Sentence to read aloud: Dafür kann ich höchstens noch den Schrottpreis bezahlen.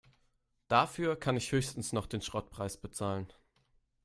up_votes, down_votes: 4, 0